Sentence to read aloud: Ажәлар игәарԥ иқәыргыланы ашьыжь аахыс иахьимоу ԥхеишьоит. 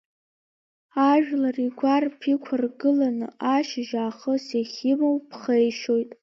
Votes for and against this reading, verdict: 0, 2, rejected